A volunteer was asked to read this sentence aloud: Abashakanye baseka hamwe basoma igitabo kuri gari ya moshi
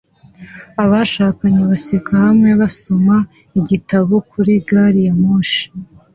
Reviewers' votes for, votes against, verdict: 2, 0, accepted